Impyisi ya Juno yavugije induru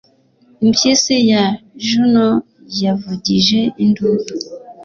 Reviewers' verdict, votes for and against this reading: accepted, 2, 0